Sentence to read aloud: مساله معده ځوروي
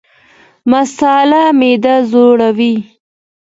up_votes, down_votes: 2, 0